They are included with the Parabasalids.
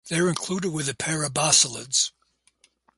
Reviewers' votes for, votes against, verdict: 2, 0, accepted